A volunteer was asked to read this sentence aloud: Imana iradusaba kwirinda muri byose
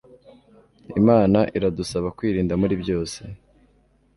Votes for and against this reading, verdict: 2, 0, accepted